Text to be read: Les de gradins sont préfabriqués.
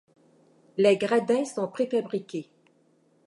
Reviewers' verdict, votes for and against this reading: rejected, 1, 2